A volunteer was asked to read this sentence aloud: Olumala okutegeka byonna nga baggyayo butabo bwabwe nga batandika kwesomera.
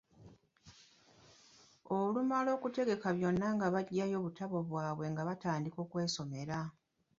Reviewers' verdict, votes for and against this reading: rejected, 1, 2